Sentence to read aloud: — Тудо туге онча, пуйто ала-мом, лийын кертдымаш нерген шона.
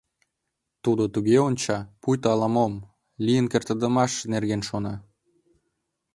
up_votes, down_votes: 0, 2